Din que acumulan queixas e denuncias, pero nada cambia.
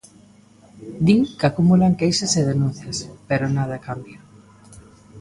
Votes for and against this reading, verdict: 2, 0, accepted